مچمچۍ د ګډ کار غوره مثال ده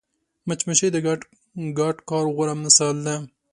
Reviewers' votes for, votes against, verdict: 2, 1, accepted